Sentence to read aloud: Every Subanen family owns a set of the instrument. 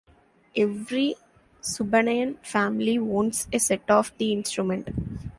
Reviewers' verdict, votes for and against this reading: accepted, 2, 0